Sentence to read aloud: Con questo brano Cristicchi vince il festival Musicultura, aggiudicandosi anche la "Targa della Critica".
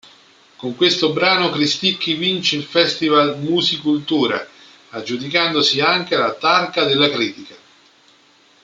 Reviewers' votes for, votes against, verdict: 2, 0, accepted